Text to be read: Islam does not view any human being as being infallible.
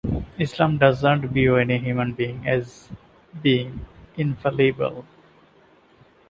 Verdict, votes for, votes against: rejected, 1, 2